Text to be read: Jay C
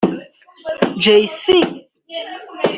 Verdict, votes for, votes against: rejected, 1, 2